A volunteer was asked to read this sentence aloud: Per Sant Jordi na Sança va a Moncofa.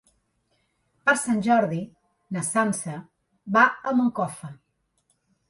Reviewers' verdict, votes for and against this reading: accepted, 2, 0